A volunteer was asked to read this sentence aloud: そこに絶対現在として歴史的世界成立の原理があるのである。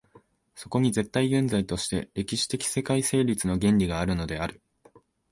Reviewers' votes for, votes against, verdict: 2, 0, accepted